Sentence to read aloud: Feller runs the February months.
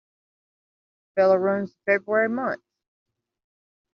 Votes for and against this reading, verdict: 0, 2, rejected